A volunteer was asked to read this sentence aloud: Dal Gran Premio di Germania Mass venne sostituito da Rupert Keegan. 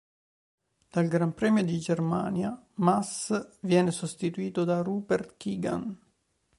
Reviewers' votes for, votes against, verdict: 1, 2, rejected